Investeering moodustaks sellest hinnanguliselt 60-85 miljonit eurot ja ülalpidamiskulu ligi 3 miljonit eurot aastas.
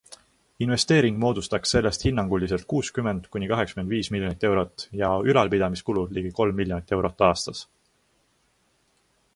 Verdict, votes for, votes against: rejected, 0, 2